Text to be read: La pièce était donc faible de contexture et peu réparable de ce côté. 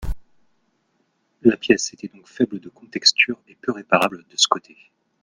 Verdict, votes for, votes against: rejected, 1, 2